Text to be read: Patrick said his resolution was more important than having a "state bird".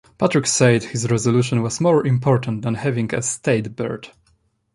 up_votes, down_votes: 2, 0